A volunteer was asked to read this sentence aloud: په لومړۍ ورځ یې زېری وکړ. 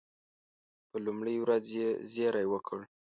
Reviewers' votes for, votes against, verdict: 2, 0, accepted